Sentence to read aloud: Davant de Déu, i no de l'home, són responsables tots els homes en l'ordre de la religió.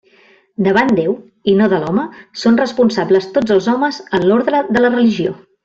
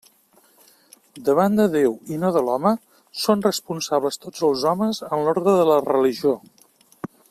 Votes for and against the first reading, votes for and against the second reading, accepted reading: 0, 2, 3, 0, second